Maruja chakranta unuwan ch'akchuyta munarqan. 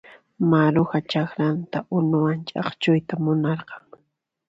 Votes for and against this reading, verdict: 2, 0, accepted